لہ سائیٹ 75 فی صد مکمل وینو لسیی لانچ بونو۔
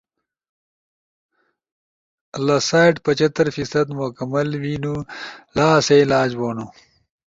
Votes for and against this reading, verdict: 0, 2, rejected